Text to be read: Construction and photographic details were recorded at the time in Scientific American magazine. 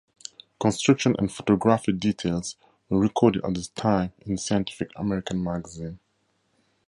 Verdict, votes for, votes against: accepted, 2, 0